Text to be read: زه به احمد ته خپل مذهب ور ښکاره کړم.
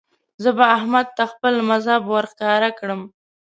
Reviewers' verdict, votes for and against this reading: accepted, 2, 0